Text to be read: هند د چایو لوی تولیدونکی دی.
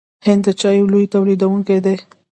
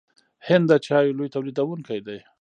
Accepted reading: first